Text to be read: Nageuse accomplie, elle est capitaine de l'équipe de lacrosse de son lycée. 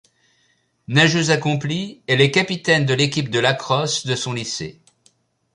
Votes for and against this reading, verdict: 2, 0, accepted